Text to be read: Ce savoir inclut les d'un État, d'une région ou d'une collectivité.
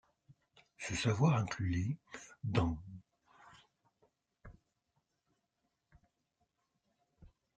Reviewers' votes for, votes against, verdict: 0, 2, rejected